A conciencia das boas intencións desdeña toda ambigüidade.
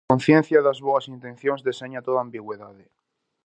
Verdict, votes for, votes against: rejected, 0, 4